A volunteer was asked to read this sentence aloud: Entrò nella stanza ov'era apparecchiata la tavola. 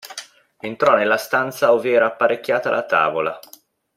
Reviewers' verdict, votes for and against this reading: accepted, 2, 0